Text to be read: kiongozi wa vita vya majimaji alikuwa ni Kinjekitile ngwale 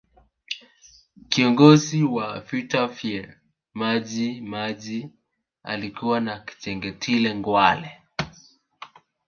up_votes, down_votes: 0, 2